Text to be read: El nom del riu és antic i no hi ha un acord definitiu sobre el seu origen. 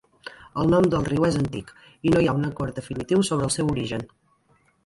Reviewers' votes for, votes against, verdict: 2, 1, accepted